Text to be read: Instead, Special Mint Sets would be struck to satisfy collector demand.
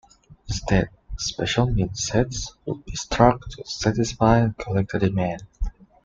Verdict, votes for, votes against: accepted, 2, 1